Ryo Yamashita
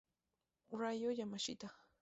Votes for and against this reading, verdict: 2, 0, accepted